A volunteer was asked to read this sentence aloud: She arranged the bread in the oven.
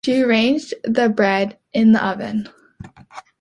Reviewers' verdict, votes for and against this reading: accepted, 3, 0